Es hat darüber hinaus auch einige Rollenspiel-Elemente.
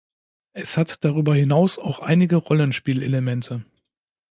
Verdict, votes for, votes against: accepted, 2, 0